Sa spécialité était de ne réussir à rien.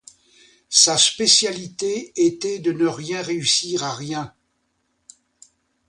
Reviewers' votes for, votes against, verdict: 0, 2, rejected